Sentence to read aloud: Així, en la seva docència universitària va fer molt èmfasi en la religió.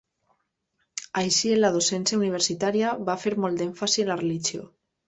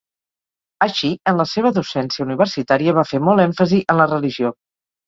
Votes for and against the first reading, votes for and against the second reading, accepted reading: 0, 2, 6, 0, second